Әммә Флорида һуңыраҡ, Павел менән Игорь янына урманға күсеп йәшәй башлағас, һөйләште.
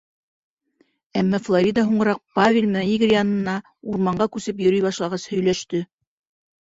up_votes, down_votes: 1, 2